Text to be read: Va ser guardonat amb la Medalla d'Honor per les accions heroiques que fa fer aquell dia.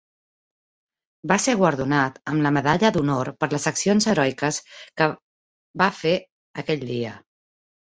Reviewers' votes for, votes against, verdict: 0, 2, rejected